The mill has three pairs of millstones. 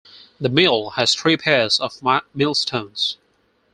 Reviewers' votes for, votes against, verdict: 0, 4, rejected